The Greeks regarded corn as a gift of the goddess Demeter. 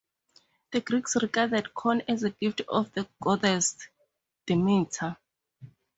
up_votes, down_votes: 2, 0